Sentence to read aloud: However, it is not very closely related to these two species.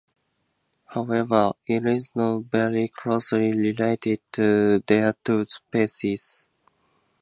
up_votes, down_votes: 0, 2